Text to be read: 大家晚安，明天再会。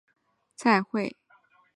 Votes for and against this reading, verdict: 0, 2, rejected